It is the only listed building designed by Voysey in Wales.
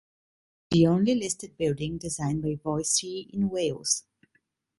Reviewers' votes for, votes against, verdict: 1, 2, rejected